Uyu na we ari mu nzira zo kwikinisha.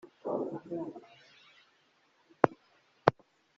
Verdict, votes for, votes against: rejected, 0, 2